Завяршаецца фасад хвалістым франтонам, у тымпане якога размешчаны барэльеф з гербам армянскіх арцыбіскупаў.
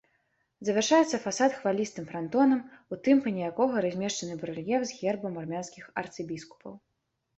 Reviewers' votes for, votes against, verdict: 2, 0, accepted